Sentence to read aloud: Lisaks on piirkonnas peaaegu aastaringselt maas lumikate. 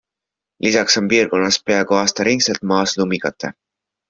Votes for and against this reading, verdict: 3, 0, accepted